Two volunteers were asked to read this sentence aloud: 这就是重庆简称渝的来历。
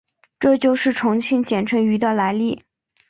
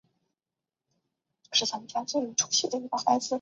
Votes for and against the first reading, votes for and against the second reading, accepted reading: 2, 0, 0, 3, first